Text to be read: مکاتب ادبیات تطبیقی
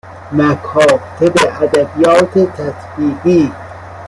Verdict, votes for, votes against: accepted, 2, 1